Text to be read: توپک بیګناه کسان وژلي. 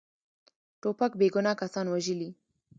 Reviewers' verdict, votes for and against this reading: rejected, 1, 2